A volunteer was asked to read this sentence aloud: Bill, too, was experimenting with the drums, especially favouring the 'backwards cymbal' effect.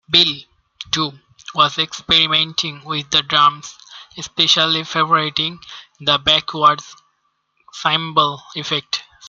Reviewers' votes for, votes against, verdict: 1, 2, rejected